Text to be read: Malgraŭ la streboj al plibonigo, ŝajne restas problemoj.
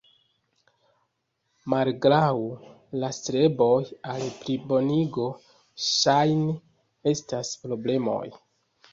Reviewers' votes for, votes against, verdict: 2, 0, accepted